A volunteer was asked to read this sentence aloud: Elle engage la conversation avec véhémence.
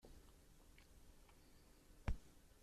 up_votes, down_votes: 0, 2